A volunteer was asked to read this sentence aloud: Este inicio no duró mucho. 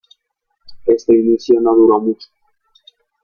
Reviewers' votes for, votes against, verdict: 0, 2, rejected